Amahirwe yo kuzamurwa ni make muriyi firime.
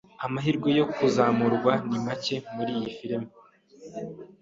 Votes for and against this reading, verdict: 3, 0, accepted